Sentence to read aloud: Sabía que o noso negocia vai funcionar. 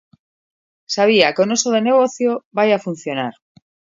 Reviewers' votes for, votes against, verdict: 0, 2, rejected